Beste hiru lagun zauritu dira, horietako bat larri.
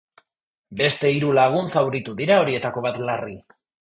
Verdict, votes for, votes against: accepted, 2, 0